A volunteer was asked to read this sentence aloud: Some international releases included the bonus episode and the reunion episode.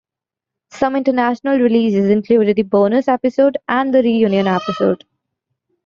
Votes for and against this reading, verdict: 2, 0, accepted